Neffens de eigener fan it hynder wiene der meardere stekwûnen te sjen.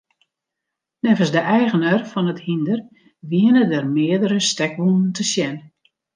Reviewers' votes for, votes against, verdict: 2, 0, accepted